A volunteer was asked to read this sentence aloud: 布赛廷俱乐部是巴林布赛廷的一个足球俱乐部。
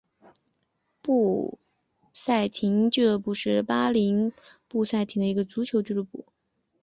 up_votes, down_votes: 4, 1